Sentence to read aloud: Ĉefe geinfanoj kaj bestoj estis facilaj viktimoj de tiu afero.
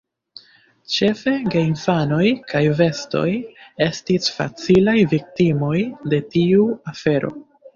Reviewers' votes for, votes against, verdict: 0, 3, rejected